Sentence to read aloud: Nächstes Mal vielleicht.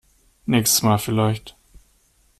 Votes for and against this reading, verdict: 2, 0, accepted